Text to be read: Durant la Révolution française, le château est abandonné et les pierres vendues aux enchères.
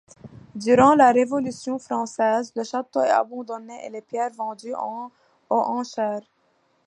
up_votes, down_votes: 1, 2